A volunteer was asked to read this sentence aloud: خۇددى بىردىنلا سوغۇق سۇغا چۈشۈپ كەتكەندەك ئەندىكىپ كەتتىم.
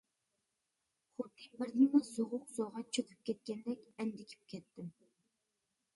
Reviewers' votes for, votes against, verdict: 0, 2, rejected